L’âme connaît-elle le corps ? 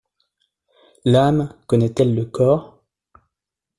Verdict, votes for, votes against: accepted, 2, 0